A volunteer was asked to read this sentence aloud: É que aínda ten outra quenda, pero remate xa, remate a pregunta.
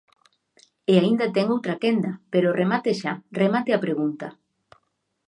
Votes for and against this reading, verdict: 0, 2, rejected